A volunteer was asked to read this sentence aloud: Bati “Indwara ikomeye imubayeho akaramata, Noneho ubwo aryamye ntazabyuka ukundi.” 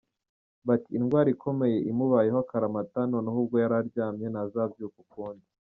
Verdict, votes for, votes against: rejected, 1, 2